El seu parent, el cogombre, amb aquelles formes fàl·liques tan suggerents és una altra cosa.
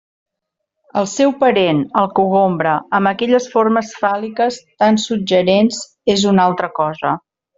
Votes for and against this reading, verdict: 3, 1, accepted